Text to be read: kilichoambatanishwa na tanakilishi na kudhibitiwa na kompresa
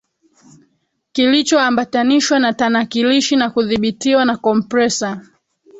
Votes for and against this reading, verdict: 1, 3, rejected